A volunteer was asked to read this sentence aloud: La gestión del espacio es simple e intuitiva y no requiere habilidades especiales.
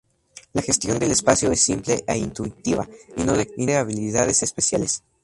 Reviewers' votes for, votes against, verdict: 2, 0, accepted